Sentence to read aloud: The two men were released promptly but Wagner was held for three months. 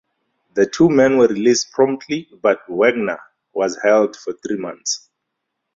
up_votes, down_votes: 4, 0